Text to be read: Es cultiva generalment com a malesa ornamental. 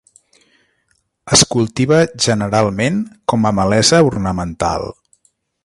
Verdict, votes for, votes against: accepted, 3, 0